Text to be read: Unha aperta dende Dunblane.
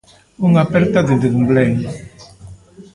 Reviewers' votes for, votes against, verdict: 0, 2, rejected